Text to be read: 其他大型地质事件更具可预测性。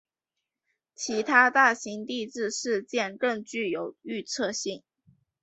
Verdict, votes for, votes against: rejected, 0, 2